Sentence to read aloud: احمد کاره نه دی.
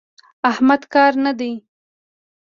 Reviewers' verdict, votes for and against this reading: accepted, 2, 0